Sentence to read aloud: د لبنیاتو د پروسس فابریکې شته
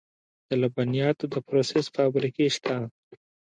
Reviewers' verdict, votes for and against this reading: rejected, 1, 2